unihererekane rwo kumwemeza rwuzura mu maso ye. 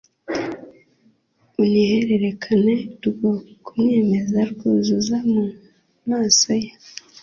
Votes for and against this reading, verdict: 2, 0, accepted